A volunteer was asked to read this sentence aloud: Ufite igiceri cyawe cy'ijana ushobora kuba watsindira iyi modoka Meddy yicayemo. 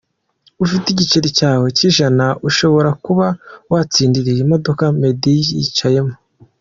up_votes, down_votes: 2, 0